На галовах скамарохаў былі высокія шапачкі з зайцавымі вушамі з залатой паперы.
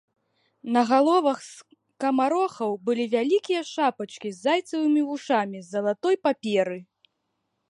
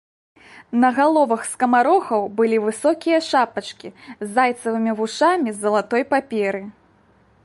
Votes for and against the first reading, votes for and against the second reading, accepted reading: 0, 2, 2, 0, second